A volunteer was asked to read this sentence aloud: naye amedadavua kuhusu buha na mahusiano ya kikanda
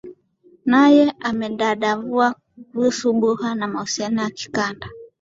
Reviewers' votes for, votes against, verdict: 2, 0, accepted